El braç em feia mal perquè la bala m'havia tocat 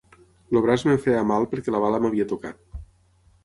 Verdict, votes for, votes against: rejected, 0, 6